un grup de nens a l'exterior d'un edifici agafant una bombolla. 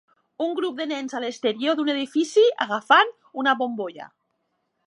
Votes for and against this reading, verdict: 2, 0, accepted